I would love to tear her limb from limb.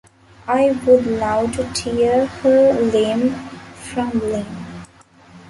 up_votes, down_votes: 1, 2